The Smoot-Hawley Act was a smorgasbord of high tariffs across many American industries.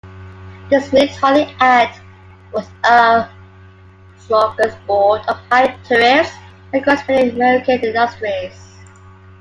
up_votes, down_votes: 1, 2